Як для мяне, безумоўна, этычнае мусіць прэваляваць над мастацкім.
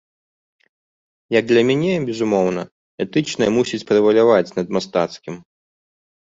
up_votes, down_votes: 2, 0